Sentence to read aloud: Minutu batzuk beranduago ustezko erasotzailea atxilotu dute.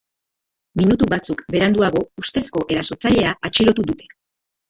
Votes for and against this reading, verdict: 2, 0, accepted